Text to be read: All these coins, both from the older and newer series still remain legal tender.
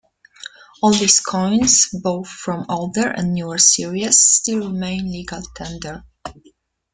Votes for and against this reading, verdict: 0, 2, rejected